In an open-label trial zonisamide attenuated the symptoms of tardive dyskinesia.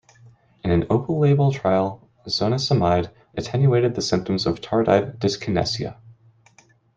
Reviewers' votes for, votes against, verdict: 2, 0, accepted